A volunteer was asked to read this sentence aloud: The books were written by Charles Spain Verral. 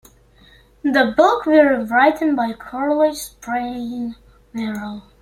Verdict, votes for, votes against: rejected, 0, 2